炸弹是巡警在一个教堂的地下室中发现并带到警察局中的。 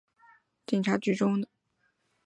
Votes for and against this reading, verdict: 0, 3, rejected